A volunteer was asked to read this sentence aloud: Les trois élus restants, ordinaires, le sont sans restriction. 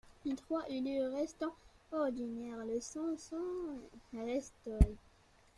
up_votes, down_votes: 0, 2